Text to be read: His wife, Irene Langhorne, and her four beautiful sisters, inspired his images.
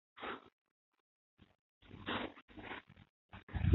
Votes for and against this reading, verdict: 0, 2, rejected